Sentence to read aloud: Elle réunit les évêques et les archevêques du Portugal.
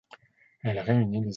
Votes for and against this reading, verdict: 0, 2, rejected